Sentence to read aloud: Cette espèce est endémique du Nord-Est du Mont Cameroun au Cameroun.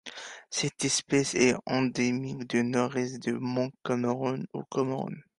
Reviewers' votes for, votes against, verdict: 2, 1, accepted